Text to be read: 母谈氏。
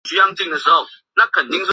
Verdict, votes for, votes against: rejected, 0, 2